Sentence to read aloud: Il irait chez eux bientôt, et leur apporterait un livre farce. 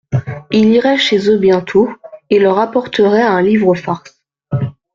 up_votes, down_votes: 2, 0